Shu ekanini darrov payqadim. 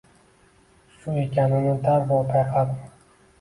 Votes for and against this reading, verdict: 1, 2, rejected